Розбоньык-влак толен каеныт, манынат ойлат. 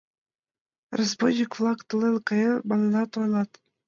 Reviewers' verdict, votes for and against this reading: rejected, 0, 2